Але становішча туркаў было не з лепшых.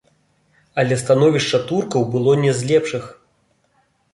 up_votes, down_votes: 2, 0